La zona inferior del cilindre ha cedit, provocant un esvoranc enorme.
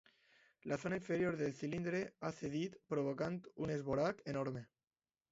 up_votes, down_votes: 0, 2